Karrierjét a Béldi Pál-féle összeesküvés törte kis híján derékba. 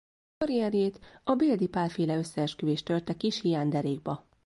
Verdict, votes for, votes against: rejected, 1, 2